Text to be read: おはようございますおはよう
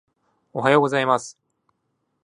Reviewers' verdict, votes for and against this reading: rejected, 1, 2